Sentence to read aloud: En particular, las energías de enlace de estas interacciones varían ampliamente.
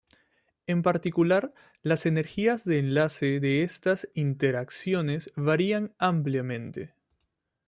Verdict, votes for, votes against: accepted, 2, 0